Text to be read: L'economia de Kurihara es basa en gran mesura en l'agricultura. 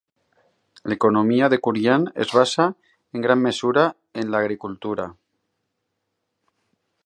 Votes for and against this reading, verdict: 1, 4, rejected